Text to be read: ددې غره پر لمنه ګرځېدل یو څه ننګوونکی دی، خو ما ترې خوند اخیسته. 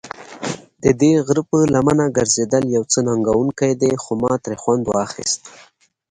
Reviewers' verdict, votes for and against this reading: accepted, 2, 0